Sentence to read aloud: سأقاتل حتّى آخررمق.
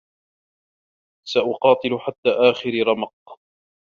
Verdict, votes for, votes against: rejected, 1, 2